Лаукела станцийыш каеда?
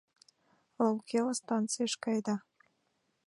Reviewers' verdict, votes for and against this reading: accepted, 2, 0